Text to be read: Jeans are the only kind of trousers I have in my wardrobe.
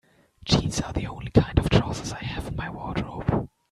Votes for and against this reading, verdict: 2, 0, accepted